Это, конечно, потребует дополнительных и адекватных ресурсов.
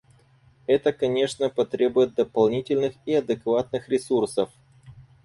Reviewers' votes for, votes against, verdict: 4, 0, accepted